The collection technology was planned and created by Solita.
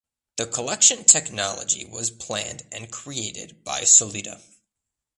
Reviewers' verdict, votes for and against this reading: accepted, 2, 0